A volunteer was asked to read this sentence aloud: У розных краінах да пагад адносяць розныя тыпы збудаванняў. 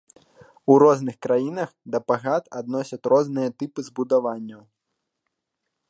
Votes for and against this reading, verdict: 2, 1, accepted